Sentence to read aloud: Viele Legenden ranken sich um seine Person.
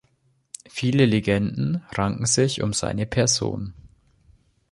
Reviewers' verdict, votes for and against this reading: accepted, 3, 0